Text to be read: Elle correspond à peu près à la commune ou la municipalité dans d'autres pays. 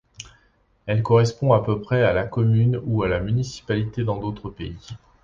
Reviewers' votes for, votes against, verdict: 1, 2, rejected